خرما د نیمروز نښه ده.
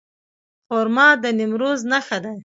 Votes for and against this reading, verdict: 2, 0, accepted